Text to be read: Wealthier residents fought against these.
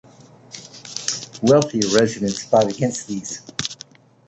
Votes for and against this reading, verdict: 2, 1, accepted